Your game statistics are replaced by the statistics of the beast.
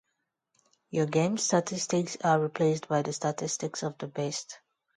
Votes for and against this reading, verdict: 0, 2, rejected